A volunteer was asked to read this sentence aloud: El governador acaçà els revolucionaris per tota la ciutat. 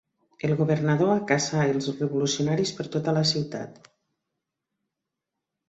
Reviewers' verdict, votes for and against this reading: accepted, 3, 0